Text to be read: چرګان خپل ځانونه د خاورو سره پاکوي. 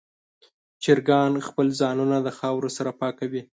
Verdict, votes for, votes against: accepted, 3, 0